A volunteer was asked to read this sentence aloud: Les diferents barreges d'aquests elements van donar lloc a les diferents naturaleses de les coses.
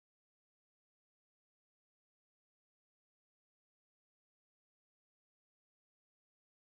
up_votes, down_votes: 0, 3